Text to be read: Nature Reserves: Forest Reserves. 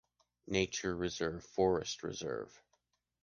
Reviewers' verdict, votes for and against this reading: rejected, 1, 2